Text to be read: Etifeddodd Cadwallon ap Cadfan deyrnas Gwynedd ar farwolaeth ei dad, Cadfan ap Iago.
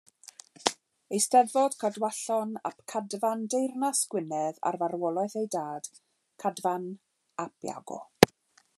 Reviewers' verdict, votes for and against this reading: rejected, 0, 2